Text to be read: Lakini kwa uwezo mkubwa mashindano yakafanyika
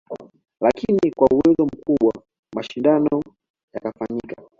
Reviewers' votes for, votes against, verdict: 2, 0, accepted